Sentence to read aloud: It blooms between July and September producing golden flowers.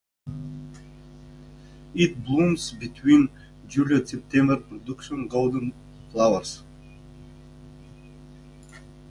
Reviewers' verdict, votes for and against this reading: rejected, 0, 2